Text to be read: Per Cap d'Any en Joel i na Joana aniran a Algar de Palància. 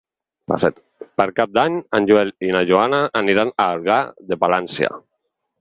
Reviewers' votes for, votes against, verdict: 0, 4, rejected